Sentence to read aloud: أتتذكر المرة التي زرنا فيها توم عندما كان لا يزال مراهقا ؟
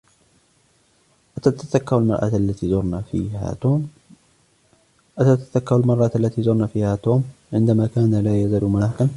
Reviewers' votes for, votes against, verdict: 2, 1, accepted